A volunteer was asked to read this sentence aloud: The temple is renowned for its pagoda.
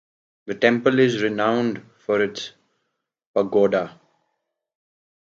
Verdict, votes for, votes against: accepted, 2, 0